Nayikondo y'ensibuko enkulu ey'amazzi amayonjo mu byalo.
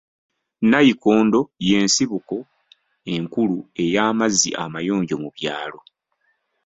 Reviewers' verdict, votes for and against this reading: accepted, 2, 0